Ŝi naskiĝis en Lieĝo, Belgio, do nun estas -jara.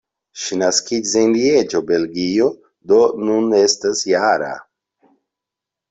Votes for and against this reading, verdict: 0, 2, rejected